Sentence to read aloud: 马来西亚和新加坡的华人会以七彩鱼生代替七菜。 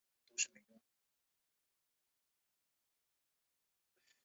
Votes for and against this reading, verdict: 0, 2, rejected